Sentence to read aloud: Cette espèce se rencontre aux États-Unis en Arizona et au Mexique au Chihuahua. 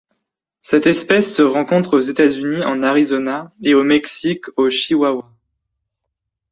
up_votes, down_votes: 1, 2